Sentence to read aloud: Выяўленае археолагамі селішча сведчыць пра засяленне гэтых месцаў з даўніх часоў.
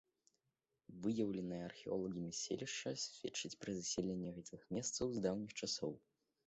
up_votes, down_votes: 2, 1